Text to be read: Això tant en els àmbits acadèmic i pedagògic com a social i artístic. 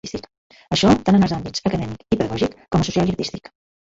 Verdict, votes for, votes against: rejected, 1, 2